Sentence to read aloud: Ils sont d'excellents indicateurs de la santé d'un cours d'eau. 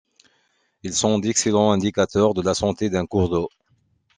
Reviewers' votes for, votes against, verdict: 2, 0, accepted